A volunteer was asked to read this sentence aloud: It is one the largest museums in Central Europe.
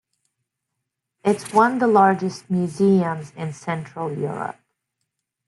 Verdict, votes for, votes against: rejected, 1, 2